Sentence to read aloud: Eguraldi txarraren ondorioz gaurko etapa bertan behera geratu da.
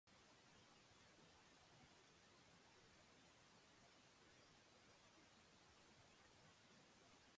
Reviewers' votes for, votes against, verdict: 0, 3, rejected